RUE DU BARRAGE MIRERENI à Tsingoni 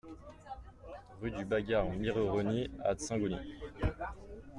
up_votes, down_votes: 0, 2